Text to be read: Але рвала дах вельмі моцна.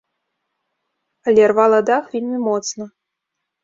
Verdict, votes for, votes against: accepted, 2, 0